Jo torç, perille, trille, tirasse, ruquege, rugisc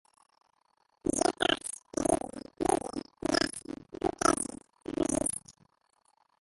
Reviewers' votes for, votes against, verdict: 0, 2, rejected